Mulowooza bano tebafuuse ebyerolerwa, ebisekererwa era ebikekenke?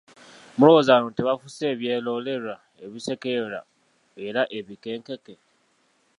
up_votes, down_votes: 2, 0